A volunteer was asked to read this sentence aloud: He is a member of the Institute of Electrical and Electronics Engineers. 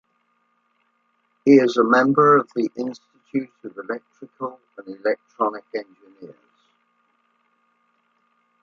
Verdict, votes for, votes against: accepted, 2, 0